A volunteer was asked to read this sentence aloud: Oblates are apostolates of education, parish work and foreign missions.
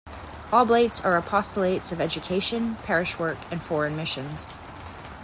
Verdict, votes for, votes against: accepted, 2, 0